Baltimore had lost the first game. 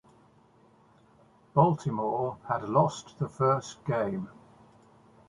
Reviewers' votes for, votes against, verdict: 2, 0, accepted